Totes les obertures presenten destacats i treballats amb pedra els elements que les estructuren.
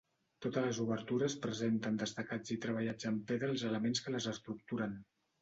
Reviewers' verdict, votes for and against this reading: accepted, 2, 0